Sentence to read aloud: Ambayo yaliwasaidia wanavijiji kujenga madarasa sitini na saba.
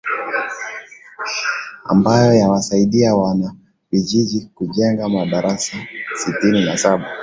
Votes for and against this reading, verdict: 2, 0, accepted